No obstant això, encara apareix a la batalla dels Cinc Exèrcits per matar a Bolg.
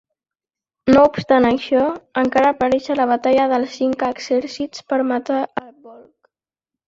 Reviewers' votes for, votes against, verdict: 0, 2, rejected